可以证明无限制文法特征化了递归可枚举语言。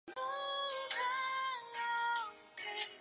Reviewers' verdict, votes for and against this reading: rejected, 1, 2